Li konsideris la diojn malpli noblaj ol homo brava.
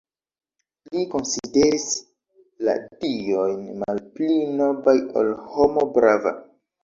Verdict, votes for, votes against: rejected, 0, 2